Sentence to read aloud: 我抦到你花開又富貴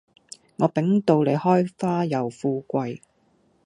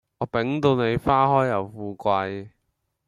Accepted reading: second